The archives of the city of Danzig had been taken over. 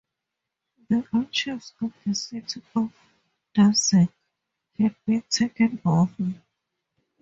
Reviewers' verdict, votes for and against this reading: rejected, 0, 4